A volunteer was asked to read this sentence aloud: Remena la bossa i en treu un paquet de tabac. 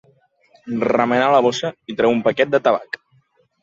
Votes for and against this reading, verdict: 1, 2, rejected